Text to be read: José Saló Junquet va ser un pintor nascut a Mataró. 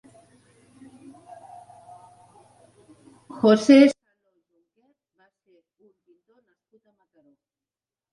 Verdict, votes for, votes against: rejected, 0, 2